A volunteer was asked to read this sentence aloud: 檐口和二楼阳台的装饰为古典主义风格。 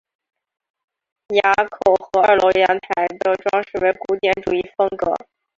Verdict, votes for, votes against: rejected, 0, 3